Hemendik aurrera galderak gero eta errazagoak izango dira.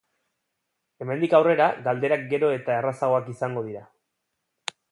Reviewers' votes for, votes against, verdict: 2, 0, accepted